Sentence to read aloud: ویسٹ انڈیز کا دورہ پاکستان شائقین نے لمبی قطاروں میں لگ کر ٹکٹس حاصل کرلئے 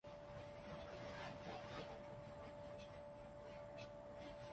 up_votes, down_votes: 0, 2